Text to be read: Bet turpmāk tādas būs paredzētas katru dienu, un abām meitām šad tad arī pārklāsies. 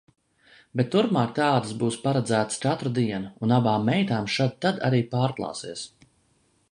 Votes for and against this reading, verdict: 2, 0, accepted